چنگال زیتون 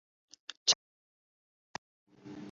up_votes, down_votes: 0, 2